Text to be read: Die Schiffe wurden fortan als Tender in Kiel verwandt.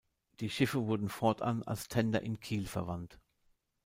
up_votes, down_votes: 2, 0